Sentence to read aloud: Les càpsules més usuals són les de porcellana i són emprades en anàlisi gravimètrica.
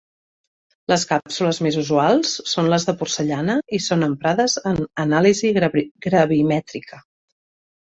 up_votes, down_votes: 1, 2